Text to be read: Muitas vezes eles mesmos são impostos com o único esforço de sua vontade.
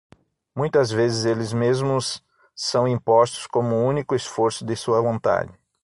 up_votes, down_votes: 0, 6